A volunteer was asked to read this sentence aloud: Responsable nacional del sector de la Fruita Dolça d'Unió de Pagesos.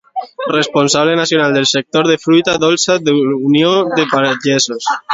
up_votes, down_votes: 0, 2